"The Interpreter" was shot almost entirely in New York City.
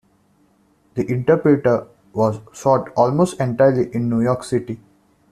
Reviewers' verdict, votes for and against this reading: accepted, 2, 1